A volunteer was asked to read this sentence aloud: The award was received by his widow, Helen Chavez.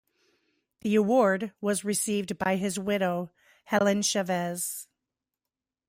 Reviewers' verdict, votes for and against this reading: accepted, 2, 0